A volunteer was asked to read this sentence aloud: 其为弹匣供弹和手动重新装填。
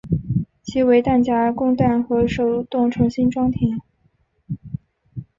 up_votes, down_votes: 2, 0